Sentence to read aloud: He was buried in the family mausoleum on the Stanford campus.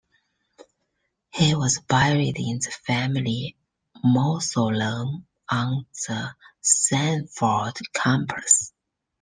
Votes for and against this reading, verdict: 1, 2, rejected